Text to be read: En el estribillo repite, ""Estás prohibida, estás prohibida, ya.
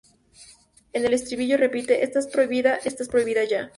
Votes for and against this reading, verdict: 0, 2, rejected